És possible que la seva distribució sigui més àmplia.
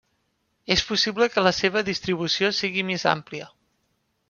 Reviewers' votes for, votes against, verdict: 3, 0, accepted